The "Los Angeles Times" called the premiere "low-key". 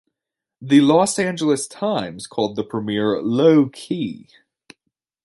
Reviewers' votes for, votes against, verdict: 2, 0, accepted